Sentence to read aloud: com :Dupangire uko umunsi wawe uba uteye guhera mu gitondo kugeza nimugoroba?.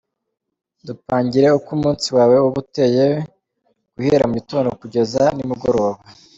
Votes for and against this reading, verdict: 2, 0, accepted